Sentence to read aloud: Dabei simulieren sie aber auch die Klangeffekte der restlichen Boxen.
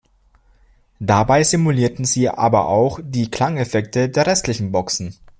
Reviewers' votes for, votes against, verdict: 2, 0, accepted